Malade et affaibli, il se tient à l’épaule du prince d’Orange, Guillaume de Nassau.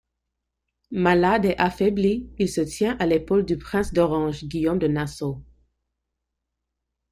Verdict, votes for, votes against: accepted, 2, 0